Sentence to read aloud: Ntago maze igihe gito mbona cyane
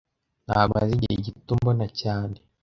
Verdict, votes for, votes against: rejected, 0, 2